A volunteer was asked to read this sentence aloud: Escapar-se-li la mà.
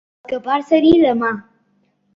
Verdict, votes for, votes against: rejected, 0, 2